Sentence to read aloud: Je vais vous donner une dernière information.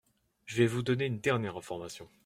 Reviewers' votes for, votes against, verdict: 2, 0, accepted